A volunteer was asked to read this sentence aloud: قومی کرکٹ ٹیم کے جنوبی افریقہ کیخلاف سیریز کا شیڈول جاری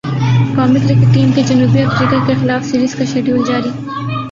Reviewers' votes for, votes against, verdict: 0, 2, rejected